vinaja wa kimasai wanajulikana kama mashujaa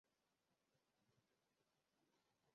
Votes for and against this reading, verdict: 0, 2, rejected